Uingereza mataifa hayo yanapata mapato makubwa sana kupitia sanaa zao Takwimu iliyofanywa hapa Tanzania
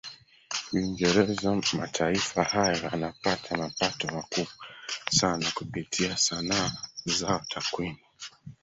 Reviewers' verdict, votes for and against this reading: rejected, 0, 2